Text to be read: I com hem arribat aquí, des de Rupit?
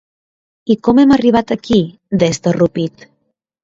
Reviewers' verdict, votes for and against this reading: accepted, 2, 0